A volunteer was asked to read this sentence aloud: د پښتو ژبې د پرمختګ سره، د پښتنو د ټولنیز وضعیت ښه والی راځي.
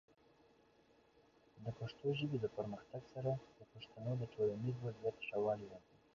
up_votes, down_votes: 0, 2